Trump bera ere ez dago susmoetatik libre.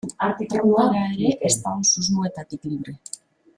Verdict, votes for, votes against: rejected, 0, 2